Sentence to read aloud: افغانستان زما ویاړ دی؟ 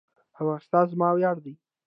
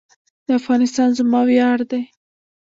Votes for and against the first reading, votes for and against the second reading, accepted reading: 2, 0, 1, 2, first